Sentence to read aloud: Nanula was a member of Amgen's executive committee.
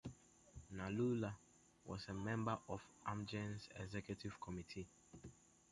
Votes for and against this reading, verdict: 2, 0, accepted